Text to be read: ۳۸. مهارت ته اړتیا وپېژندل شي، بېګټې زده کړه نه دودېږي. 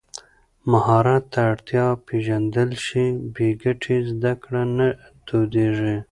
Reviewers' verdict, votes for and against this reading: rejected, 0, 2